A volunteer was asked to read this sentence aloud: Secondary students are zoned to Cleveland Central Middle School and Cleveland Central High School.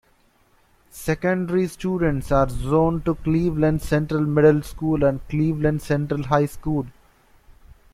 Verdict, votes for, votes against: rejected, 1, 2